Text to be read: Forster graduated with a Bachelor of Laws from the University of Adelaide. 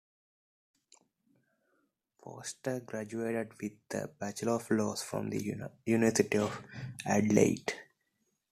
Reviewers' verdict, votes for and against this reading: accepted, 2, 1